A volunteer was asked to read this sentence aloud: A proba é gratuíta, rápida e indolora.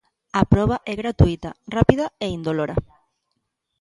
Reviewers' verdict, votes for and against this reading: accepted, 2, 0